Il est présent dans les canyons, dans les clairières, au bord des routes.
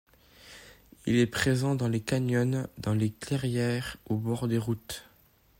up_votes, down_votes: 2, 0